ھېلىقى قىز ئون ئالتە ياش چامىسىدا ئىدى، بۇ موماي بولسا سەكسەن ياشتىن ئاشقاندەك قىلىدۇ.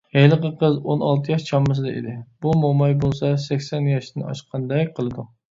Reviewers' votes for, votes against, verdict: 2, 0, accepted